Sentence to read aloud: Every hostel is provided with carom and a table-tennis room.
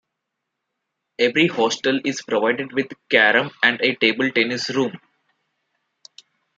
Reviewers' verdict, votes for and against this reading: accepted, 2, 0